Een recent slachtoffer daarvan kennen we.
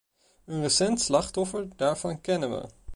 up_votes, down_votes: 2, 1